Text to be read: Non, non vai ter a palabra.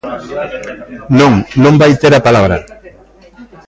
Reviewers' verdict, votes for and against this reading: accepted, 2, 0